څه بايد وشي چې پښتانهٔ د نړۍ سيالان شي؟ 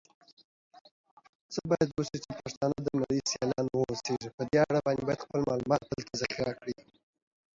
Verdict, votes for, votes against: rejected, 0, 2